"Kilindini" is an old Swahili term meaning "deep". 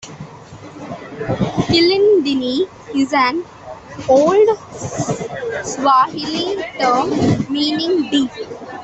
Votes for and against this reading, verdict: 2, 0, accepted